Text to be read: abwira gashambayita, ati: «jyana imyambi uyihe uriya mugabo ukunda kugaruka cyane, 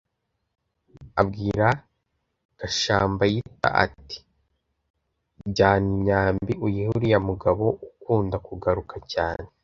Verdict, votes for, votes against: accepted, 2, 0